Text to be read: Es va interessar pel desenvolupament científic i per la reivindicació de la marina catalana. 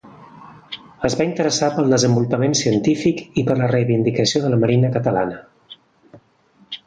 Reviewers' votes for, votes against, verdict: 2, 0, accepted